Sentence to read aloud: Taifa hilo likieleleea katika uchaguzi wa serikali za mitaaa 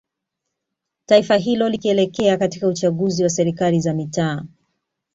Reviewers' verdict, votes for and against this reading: accepted, 2, 0